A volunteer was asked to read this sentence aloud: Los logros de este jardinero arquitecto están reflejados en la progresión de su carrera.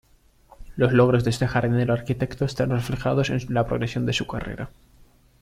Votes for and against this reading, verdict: 0, 2, rejected